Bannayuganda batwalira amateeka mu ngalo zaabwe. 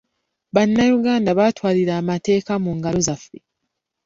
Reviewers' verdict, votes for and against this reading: rejected, 1, 2